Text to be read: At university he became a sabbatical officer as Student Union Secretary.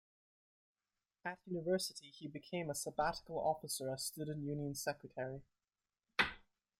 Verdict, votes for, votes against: accepted, 2, 0